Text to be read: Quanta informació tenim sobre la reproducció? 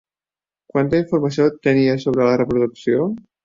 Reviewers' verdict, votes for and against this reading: rejected, 1, 2